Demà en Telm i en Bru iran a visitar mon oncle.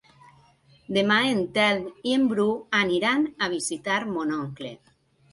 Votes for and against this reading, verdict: 0, 2, rejected